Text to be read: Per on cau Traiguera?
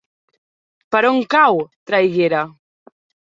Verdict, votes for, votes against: accepted, 4, 0